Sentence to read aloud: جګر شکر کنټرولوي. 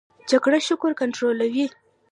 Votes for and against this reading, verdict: 0, 2, rejected